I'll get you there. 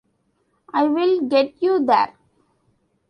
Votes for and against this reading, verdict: 0, 2, rejected